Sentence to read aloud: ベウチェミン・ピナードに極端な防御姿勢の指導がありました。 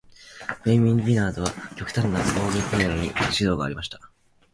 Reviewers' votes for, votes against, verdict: 0, 2, rejected